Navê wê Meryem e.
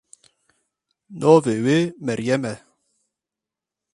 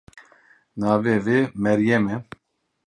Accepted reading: first